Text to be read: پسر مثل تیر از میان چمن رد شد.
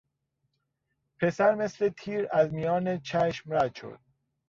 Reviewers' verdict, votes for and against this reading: rejected, 0, 2